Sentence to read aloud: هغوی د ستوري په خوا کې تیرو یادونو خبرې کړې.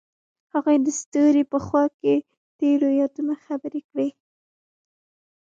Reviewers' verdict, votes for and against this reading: rejected, 1, 2